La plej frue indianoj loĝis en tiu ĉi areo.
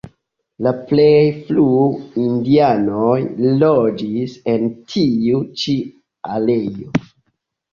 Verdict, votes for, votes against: accepted, 3, 1